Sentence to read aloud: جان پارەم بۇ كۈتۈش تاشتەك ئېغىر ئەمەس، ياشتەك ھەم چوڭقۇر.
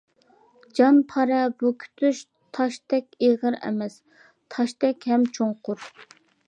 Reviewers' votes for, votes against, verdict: 0, 2, rejected